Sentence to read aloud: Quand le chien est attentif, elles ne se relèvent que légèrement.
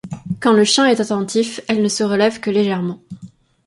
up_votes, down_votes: 2, 0